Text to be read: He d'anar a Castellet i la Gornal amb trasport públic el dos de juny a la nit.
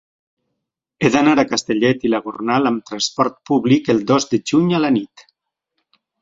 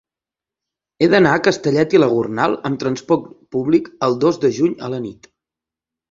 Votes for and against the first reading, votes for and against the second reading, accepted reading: 3, 0, 1, 2, first